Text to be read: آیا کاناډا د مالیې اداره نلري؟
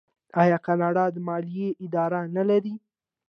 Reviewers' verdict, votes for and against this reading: accepted, 2, 0